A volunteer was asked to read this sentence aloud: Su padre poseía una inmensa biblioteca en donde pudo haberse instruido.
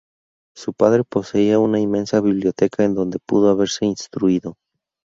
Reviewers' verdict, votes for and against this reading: rejected, 2, 2